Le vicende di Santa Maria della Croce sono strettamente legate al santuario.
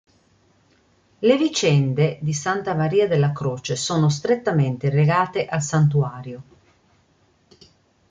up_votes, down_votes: 2, 0